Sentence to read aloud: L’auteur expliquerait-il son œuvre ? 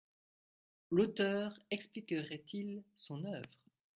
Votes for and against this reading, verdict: 2, 0, accepted